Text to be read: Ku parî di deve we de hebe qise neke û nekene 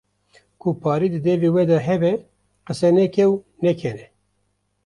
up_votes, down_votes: 2, 0